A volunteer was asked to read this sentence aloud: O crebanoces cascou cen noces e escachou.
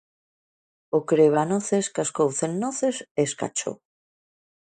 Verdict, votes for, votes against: accepted, 2, 0